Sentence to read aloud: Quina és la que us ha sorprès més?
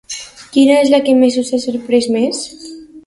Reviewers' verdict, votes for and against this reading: rejected, 0, 2